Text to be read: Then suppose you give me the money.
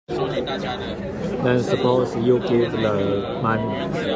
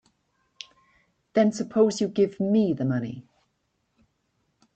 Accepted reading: second